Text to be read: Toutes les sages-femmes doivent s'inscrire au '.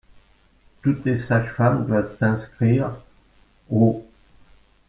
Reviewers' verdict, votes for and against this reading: rejected, 1, 2